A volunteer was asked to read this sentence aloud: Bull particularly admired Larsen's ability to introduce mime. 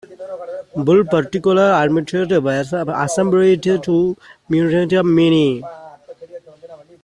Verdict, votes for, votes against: rejected, 0, 2